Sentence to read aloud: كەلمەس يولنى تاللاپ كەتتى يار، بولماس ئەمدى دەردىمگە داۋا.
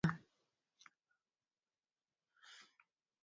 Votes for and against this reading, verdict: 0, 4, rejected